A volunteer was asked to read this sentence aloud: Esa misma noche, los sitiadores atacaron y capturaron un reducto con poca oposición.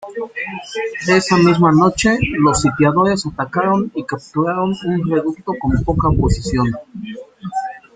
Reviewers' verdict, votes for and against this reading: rejected, 1, 2